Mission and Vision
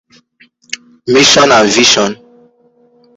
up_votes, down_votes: 0, 2